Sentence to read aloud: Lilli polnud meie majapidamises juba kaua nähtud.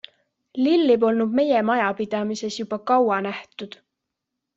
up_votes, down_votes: 2, 0